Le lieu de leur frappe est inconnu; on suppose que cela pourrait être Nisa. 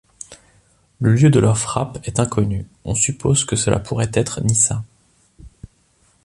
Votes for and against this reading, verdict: 3, 0, accepted